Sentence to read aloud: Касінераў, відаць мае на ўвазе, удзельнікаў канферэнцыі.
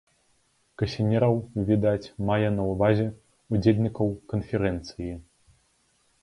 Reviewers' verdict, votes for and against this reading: accepted, 2, 0